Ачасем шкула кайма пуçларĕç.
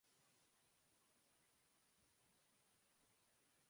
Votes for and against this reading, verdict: 0, 2, rejected